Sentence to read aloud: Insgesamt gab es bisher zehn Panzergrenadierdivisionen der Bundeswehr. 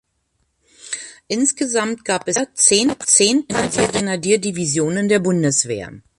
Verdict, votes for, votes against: rejected, 0, 2